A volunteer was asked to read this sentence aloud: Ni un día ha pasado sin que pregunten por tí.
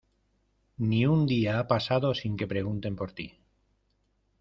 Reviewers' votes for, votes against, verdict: 2, 0, accepted